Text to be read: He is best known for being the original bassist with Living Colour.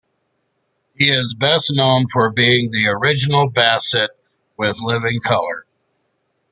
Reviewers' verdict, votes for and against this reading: rejected, 0, 2